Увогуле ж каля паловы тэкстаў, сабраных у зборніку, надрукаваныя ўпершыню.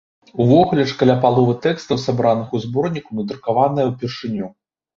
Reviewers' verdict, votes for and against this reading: accepted, 2, 0